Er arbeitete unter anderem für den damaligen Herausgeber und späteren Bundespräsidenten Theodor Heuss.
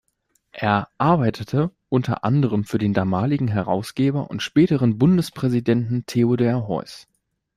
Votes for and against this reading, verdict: 1, 2, rejected